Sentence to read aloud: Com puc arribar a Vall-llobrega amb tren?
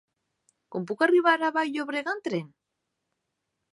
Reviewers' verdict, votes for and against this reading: accepted, 3, 1